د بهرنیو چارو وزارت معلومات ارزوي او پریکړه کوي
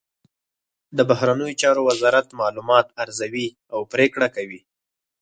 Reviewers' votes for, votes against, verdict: 4, 0, accepted